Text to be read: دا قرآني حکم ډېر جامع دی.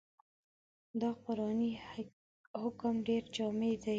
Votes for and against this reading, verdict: 1, 2, rejected